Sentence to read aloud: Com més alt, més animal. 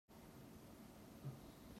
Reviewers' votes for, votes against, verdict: 0, 2, rejected